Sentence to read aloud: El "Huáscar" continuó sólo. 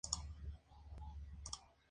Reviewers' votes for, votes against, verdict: 0, 2, rejected